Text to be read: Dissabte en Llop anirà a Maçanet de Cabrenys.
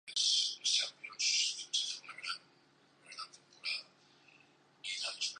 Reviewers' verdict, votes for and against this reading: rejected, 0, 2